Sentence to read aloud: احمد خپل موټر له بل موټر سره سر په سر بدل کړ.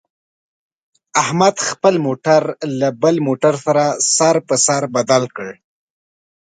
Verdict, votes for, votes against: accepted, 2, 0